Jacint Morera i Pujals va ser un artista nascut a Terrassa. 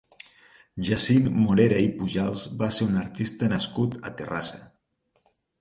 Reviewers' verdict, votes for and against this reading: accepted, 4, 0